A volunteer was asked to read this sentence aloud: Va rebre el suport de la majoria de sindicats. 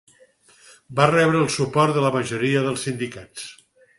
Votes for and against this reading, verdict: 0, 4, rejected